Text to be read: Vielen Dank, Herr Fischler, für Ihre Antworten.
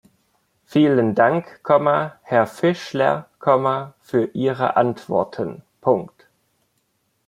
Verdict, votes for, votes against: accepted, 2, 1